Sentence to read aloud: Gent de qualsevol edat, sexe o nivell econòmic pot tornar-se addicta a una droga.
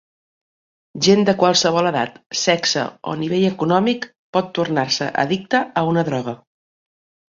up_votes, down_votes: 2, 0